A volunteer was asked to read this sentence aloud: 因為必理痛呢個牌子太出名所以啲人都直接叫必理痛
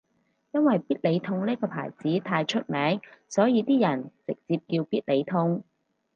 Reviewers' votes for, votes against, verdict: 2, 2, rejected